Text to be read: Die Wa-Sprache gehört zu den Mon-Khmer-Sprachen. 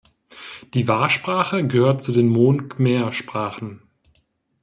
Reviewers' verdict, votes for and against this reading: accepted, 2, 0